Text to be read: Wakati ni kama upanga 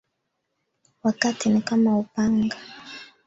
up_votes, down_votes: 2, 3